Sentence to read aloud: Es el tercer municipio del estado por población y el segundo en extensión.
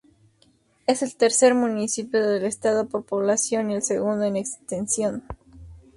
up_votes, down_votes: 0, 2